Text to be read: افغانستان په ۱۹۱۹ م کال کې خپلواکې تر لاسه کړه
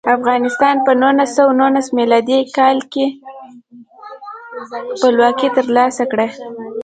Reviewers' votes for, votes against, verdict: 0, 2, rejected